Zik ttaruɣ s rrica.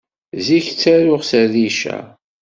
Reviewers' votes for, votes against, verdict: 2, 0, accepted